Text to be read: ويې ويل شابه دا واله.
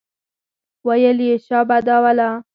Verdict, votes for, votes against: rejected, 2, 4